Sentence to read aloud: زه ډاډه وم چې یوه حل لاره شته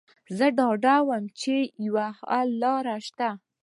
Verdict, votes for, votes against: accepted, 2, 0